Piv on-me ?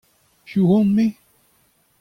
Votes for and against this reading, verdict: 2, 0, accepted